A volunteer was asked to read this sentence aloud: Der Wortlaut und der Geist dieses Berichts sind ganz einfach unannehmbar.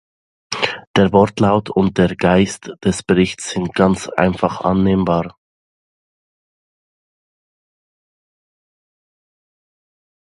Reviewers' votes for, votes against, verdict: 0, 2, rejected